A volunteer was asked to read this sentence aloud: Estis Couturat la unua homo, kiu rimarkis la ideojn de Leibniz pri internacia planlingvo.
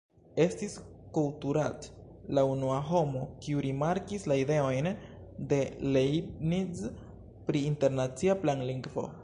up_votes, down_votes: 0, 2